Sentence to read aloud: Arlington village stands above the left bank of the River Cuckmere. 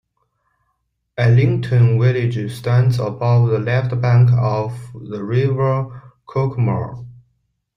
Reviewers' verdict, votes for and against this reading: accepted, 2, 0